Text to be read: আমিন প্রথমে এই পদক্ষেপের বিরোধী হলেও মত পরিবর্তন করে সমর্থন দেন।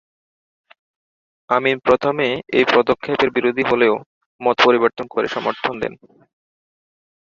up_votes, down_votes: 2, 0